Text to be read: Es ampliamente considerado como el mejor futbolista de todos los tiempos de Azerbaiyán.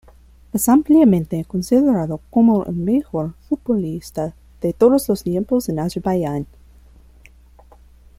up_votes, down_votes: 2, 0